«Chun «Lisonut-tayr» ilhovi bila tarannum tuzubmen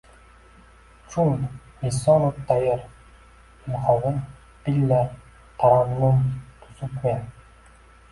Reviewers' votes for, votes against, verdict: 0, 2, rejected